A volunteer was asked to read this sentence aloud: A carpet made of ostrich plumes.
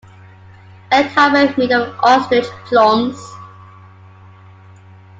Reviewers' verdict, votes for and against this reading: rejected, 1, 2